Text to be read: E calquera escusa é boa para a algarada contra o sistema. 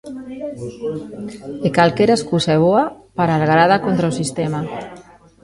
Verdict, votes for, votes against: rejected, 0, 2